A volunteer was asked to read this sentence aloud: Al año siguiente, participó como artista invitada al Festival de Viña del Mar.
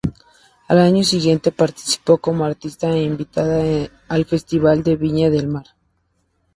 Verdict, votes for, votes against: rejected, 2, 2